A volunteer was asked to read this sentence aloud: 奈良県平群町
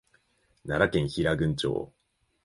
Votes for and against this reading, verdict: 3, 1, accepted